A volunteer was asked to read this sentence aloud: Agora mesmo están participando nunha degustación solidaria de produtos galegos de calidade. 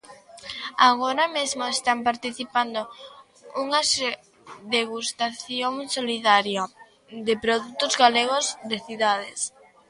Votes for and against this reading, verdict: 0, 2, rejected